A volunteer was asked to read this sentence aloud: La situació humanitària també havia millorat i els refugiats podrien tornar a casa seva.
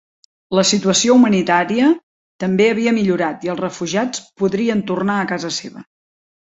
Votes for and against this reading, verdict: 4, 0, accepted